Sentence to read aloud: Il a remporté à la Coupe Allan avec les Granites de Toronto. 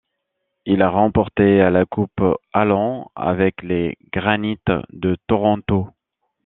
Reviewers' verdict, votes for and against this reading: rejected, 1, 2